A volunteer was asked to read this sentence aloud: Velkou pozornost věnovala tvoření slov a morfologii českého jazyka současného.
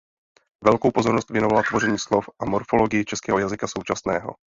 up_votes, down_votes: 0, 2